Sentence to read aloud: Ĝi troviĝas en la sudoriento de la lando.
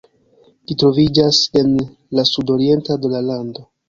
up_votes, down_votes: 0, 2